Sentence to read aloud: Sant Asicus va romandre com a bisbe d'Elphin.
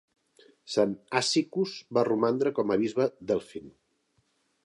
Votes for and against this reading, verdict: 2, 0, accepted